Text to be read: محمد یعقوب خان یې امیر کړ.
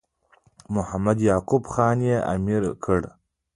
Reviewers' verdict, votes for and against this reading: rejected, 1, 2